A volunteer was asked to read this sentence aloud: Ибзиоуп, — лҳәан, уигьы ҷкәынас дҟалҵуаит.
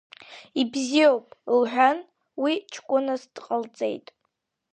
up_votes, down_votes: 0, 2